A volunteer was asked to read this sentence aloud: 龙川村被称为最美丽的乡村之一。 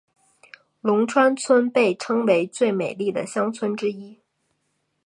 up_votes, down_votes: 4, 0